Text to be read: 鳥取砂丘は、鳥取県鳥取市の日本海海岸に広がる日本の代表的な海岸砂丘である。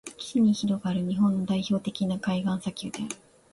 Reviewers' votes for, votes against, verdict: 1, 2, rejected